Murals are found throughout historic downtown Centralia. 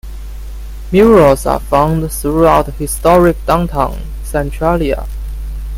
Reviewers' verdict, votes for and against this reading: accepted, 2, 0